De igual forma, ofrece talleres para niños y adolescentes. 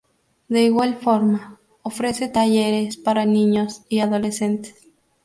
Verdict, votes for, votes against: rejected, 2, 4